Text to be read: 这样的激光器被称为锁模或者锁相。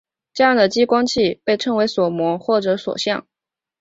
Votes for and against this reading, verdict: 0, 2, rejected